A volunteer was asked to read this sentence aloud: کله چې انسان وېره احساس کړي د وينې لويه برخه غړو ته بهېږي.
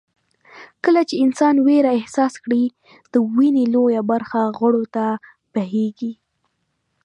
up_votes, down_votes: 2, 0